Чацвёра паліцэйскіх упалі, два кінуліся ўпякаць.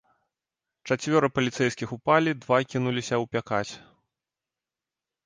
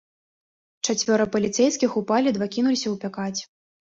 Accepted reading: first